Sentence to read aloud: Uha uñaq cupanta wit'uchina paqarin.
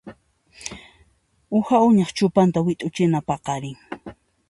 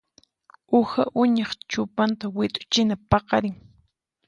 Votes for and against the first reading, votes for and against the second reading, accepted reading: 1, 2, 4, 0, second